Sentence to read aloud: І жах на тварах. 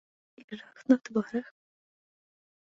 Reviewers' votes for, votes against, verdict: 0, 2, rejected